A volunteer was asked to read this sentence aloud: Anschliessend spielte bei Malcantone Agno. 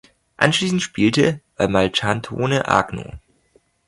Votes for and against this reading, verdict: 0, 2, rejected